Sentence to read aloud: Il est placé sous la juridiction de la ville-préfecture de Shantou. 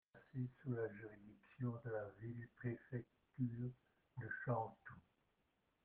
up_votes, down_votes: 1, 2